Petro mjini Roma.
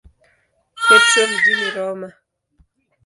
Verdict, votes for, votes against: rejected, 0, 2